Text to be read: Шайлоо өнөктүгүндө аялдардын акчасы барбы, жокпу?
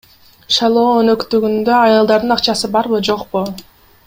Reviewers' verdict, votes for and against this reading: rejected, 1, 2